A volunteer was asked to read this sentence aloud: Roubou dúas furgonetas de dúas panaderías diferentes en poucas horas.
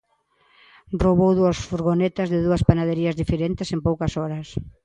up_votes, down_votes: 2, 0